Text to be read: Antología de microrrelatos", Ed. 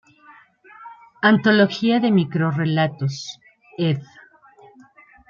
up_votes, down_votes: 1, 2